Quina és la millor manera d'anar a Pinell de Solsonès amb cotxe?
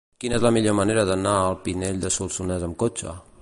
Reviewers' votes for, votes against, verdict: 0, 2, rejected